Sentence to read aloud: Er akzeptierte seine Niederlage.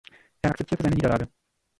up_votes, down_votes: 0, 2